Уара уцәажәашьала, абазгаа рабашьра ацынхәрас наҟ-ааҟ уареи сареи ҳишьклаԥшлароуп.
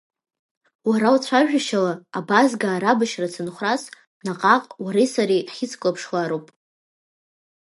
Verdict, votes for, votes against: rejected, 1, 2